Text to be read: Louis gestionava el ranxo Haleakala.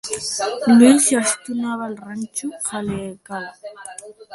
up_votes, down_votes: 0, 2